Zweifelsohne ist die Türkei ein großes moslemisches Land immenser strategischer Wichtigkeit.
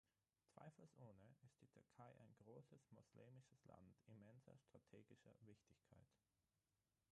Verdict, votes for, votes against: rejected, 0, 6